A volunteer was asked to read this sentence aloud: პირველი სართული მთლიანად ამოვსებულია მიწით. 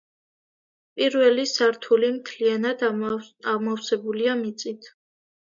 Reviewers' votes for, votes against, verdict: 2, 0, accepted